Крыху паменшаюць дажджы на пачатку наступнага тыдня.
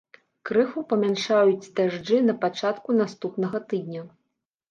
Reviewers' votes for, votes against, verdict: 0, 3, rejected